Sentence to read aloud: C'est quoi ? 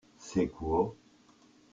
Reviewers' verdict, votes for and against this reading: rejected, 0, 2